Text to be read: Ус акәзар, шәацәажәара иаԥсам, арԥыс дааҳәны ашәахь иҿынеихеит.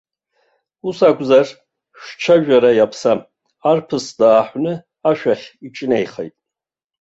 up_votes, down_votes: 1, 2